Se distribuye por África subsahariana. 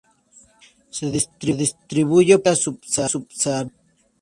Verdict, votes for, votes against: rejected, 0, 2